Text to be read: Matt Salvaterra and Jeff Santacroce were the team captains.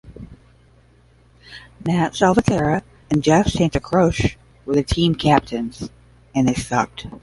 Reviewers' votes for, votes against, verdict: 0, 10, rejected